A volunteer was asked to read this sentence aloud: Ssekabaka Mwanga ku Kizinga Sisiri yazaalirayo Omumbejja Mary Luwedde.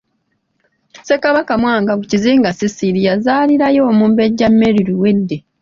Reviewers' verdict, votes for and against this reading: rejected, 0, 2